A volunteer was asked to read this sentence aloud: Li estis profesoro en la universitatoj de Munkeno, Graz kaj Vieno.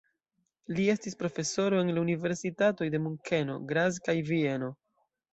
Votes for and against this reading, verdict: 2, 0, accepted